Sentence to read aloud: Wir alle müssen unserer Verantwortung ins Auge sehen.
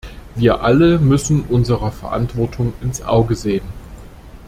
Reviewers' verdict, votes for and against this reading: accepted, 2, 0